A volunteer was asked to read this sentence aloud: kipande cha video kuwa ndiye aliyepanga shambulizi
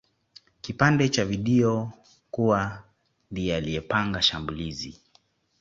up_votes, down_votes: 2, 0